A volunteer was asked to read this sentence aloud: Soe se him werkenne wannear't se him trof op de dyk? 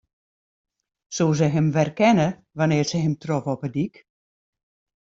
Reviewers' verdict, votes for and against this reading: rejected, 1, 2